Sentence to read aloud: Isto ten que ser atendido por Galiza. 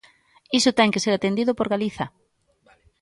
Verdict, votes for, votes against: rejected, 0, 2